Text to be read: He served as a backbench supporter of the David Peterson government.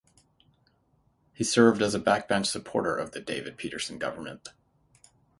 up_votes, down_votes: 6, 0